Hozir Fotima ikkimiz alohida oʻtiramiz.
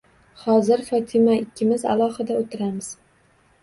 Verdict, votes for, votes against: accepted, 2, 1